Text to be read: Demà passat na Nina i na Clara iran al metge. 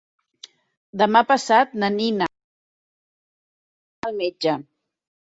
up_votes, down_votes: 1, 2